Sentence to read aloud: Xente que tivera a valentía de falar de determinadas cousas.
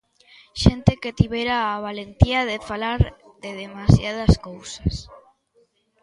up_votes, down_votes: 0, 2